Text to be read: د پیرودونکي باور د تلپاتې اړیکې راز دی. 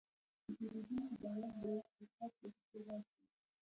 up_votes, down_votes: 1, 2